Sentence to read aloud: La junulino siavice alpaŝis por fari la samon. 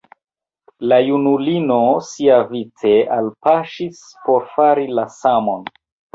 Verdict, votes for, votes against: accepted, 2, 0